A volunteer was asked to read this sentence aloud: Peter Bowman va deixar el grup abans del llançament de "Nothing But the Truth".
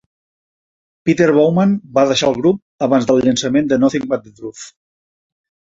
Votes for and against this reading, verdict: 0, 2, rejected